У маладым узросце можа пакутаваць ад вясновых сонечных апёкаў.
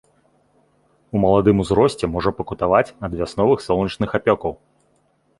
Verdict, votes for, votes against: rejected, 0, 2